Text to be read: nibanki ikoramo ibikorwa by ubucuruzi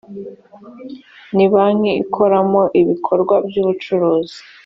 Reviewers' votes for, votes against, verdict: 3, 0, accepted